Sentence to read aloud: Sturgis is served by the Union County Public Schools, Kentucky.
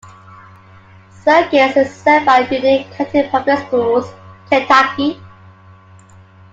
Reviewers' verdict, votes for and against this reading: rejected, 1, 2